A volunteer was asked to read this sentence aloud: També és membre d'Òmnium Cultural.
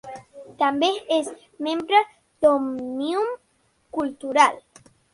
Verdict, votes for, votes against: accepted, 3, 1